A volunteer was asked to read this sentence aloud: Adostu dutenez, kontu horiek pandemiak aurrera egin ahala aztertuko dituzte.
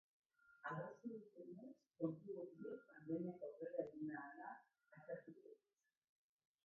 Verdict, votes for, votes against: rejected, 0, 2